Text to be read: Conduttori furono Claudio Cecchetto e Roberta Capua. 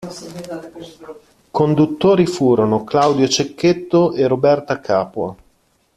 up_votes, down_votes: 0, 2